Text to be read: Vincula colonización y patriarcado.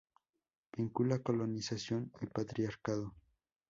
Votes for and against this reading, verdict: 4, 2, accepted